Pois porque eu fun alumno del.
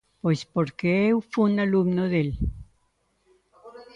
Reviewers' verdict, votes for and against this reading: rejected, 0, 2